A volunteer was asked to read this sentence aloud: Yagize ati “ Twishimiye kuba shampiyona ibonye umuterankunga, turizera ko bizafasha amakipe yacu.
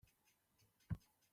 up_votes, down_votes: 1, 2